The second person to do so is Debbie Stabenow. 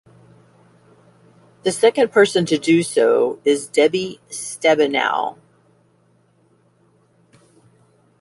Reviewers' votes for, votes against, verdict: 2, 0, accepted